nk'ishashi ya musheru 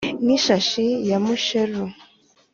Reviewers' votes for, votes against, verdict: 3, 0, accepted